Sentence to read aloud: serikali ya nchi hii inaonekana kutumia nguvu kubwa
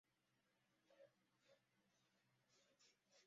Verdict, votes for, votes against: rejected, 0, 2